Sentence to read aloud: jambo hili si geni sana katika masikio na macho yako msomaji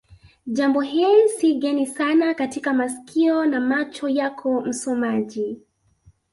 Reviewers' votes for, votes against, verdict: 2, 0, accepted